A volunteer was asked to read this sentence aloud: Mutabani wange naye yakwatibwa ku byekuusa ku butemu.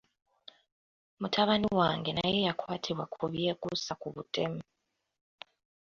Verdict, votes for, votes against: rejected, 1, 2